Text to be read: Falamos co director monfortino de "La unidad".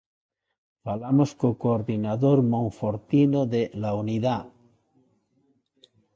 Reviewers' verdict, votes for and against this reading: rejected, 0, 2